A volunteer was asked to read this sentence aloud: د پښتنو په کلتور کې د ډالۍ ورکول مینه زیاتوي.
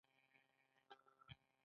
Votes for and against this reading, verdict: 1, 2, rejected